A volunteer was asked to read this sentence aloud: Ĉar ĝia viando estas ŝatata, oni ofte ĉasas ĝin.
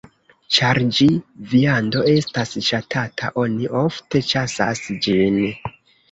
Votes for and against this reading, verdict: 1, 2, rejected